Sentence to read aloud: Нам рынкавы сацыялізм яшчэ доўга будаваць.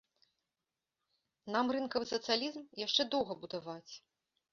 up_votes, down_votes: 2, 1